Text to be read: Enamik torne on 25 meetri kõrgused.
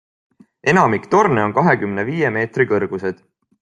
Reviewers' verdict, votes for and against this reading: rejected, 0, 2